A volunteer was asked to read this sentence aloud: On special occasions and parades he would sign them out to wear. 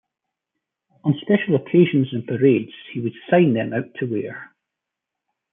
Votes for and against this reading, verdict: 2, 0, accepted